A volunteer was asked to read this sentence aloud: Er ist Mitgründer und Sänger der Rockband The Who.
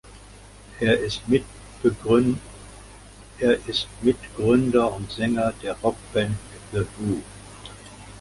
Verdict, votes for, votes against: rejected, 0, 2